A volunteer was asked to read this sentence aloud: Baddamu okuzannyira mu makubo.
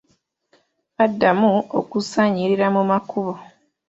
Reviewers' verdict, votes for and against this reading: rejected, 1, 2